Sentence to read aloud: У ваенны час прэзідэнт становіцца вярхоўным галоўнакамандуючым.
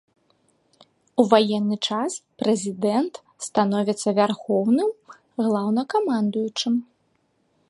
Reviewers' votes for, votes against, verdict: 0, 3, rejected